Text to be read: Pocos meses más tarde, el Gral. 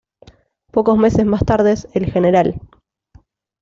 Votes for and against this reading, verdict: 1, 2, rejected